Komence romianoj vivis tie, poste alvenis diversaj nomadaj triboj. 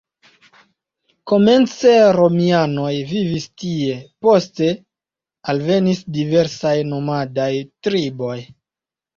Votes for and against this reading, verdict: 0, 2, rejected